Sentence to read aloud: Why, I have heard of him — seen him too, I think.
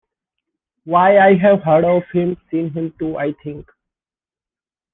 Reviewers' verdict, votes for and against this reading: accepted, 2, 0